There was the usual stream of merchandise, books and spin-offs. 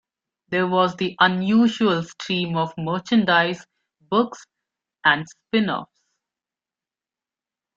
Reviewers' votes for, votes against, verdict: 0, 2, rejected